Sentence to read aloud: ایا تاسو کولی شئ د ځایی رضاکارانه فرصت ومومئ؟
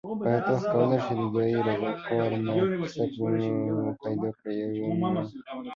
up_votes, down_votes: 0, 2